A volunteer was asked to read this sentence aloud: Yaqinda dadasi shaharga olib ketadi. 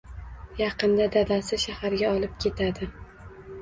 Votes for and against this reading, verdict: 2, 0, accepted